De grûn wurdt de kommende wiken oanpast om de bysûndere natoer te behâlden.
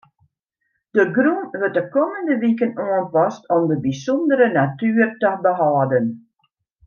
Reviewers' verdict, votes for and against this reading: rejected, 0, 2